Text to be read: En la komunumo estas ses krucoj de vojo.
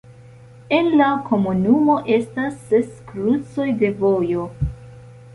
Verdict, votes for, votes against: accepted, 2, 0